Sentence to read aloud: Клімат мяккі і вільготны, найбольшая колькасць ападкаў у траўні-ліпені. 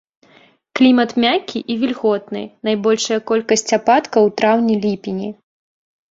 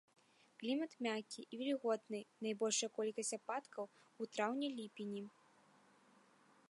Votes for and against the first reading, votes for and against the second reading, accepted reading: 1, 2, 2, 0, second